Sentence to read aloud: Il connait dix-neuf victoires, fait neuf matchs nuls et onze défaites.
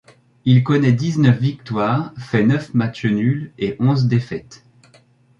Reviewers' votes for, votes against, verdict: 2, 0, accepted